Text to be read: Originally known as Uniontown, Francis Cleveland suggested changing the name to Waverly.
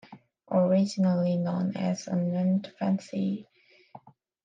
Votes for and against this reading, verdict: 0, 2, rejected